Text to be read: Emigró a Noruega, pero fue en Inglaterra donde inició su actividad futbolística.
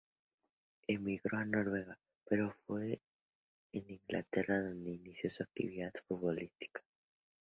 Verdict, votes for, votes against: accepted, 2, 0